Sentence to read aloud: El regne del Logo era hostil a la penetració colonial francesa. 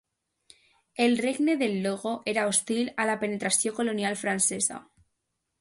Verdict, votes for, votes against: accepted, 2, 0